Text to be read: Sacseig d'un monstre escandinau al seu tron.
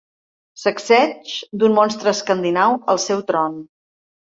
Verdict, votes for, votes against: accepted, 2, 1